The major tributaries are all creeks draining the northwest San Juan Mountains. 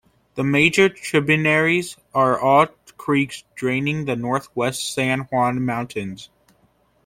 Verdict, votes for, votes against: rejected, 0, 2